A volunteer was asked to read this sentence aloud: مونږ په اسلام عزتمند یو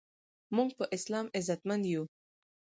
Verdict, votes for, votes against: rejected, 2, 4